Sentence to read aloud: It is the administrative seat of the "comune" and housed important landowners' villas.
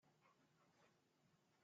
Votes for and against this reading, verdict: 0, 2, rejected